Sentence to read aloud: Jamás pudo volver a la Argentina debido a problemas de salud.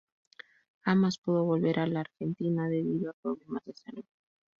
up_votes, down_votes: 2, 2